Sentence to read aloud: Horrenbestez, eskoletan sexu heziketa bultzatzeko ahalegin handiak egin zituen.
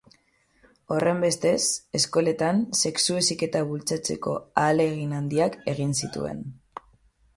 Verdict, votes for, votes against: rejected, 0, 3